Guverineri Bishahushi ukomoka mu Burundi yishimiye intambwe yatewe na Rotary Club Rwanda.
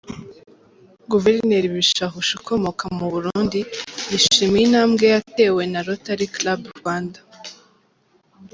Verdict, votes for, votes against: accepted, 2, 0